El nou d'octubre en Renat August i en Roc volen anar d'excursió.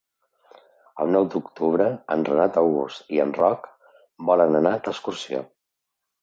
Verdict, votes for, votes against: accepted, 2, 0